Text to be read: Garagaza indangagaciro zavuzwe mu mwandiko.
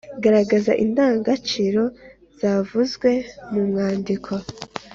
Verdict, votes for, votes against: accepted, 2, 0